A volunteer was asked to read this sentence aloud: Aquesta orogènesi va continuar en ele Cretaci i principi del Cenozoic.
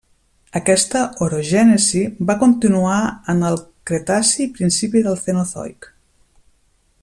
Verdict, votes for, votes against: rejected, 0, 2